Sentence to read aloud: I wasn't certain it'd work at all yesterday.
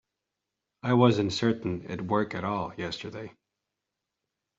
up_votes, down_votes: 2, 0